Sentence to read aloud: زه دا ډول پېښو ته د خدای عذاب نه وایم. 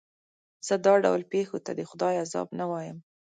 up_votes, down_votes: 2, 0